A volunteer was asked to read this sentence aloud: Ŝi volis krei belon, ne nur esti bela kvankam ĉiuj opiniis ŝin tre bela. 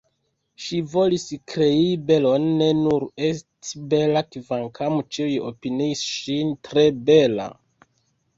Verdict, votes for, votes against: accepted, 2, 0